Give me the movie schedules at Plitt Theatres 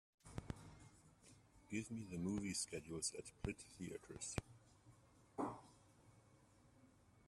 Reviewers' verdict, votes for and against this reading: accepted, 2, 1